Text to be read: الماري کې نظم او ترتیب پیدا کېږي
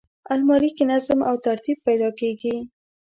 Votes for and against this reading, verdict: 2, 0, accepted